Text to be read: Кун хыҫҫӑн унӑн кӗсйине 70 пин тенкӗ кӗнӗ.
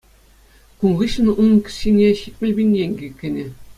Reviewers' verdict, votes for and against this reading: rejected, 0, 2